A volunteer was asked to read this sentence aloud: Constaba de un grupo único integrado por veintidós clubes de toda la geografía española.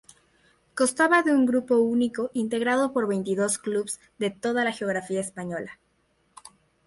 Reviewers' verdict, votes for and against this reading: rejected, 2, 2